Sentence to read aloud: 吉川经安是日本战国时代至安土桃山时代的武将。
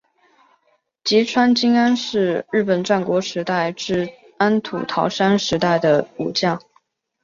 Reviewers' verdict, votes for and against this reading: accepted, 3, 0